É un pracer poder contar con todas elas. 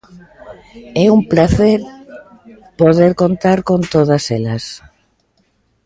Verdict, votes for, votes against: accepted, 2, 0